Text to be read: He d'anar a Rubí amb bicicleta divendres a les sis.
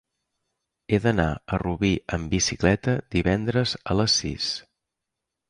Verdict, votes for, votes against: accepted, 3, 0